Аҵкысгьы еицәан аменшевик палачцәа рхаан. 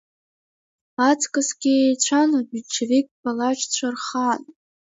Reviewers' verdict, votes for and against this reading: accepted, 2, 0